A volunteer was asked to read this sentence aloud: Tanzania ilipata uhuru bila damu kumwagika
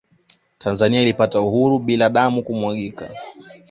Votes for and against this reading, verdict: 2, 0, accepted